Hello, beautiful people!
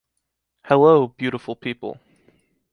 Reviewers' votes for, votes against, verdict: 2, 0, accepted